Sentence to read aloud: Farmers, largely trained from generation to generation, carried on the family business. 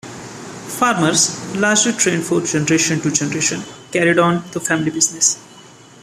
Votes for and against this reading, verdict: 2, 0, accepted